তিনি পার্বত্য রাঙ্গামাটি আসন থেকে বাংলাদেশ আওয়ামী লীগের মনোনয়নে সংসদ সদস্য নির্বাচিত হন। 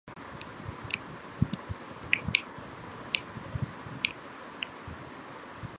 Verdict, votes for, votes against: rejected, 0, 2